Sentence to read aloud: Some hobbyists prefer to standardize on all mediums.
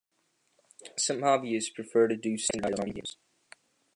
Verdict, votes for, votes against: rejected, 0, 2